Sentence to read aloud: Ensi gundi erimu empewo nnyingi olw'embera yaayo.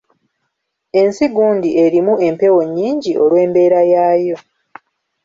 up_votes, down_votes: 0, 2